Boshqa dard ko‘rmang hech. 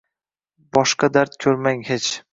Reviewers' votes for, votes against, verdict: 2, 0, accepted